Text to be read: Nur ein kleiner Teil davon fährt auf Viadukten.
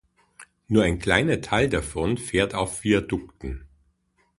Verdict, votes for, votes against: accepted, 2, 0